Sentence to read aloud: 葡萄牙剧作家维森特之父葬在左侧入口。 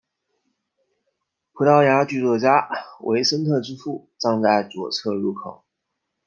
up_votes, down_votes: 2, 0